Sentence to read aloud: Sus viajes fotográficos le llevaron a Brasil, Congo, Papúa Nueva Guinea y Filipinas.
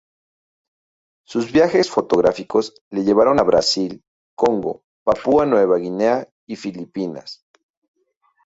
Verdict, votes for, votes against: rejected, 0, 2